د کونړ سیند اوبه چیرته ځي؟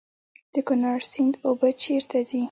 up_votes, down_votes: 2, 0